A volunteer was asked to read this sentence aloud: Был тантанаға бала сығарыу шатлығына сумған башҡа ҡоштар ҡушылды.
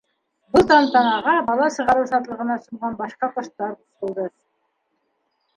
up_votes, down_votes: 1, 2